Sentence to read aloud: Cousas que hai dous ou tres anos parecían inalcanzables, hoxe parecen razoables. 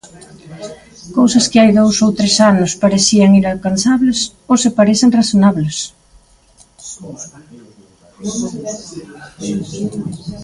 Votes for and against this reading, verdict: 1, 2, rejected